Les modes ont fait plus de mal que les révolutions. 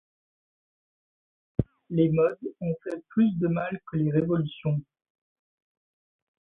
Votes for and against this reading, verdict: 2, 0, accepted